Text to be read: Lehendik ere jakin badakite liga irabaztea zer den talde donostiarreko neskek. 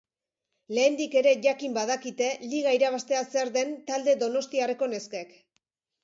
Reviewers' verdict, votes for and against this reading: accepted, 3, 0